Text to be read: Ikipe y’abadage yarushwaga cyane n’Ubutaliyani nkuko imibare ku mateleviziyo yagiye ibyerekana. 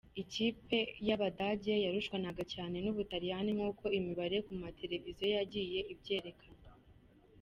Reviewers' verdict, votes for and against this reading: rejected, 1, 3